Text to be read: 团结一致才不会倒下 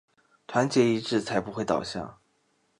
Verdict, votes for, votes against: accepted, 2, 0